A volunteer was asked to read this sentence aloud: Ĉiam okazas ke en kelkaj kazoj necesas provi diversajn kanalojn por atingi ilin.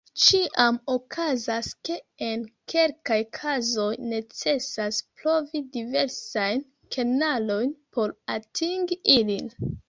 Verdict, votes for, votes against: rejected, 1, 2